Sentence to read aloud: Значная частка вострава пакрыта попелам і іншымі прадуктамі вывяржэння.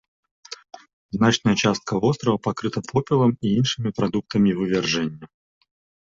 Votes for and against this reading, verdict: 2, 0, accepted